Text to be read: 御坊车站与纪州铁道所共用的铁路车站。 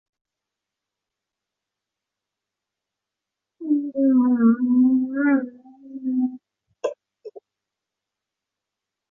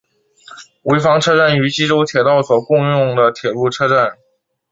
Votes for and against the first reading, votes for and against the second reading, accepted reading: 0, 6, 2, 1, second